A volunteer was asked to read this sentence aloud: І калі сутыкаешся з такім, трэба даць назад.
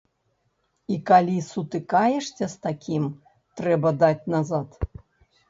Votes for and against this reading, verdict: 0, 2, rejected